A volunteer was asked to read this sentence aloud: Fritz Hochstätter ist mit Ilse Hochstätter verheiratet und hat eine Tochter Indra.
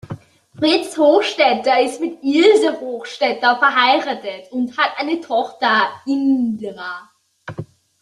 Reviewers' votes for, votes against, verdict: 2, 0, accepted